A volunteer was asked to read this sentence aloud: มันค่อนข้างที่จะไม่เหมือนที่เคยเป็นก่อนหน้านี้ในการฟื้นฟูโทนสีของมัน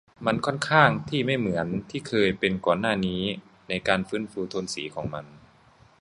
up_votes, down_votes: 0, 2